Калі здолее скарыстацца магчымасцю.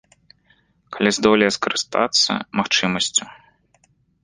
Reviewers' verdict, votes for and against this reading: accepted, 2, 0